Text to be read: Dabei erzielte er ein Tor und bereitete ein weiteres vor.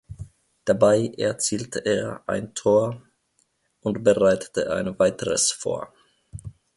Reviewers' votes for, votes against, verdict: 2, 0, accepted